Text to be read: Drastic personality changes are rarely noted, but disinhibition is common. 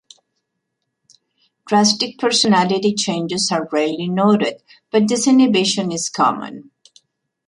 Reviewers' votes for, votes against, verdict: 2, 0, accepted